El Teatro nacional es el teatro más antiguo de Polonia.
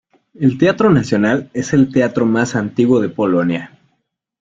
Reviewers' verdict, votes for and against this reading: accepted, 3, 0